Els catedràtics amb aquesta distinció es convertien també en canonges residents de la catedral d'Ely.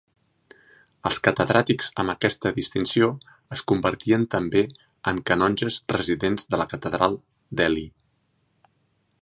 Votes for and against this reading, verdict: 2, 0, accepted